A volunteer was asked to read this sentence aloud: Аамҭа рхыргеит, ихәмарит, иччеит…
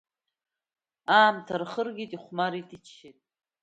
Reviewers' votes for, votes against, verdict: 2, 1, accepted